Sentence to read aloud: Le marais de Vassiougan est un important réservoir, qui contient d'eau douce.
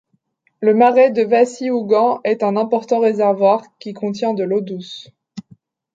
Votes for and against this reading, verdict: 0, 2, rejected